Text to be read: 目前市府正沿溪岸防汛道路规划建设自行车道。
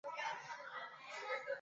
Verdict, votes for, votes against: rejected, 0, 2